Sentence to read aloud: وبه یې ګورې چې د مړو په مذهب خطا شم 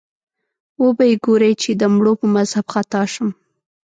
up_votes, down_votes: 2, 0